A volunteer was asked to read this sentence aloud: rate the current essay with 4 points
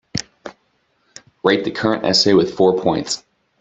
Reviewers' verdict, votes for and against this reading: rejected, 0, 2